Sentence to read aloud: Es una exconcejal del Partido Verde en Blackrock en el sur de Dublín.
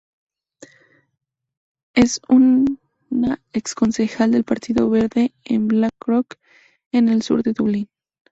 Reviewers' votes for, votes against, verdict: 0, 2, rejected